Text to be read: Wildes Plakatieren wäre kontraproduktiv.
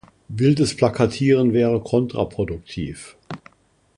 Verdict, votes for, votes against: accepted, 2, 0